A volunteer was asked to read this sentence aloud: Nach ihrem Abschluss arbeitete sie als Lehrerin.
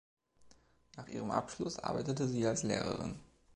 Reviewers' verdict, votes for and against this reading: accepted, 2, 0